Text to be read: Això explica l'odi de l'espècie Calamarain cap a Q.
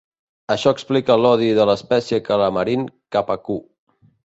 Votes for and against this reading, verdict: 1, 2, rejected